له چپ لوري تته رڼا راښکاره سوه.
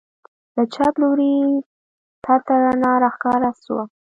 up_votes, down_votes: 1, 2